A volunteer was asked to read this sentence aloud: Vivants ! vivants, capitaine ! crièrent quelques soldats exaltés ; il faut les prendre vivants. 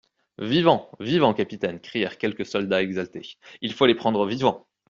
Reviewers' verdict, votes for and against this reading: accepted, 2, 0